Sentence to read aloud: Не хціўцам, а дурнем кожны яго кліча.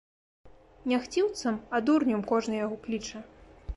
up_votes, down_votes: 2, 0